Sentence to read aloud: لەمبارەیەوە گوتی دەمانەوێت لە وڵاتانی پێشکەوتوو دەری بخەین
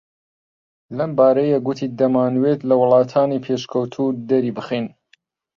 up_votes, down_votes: 0, 2